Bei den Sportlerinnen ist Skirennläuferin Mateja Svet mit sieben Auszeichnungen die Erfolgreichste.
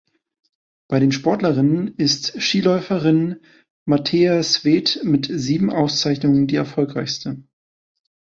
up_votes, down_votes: 1, 3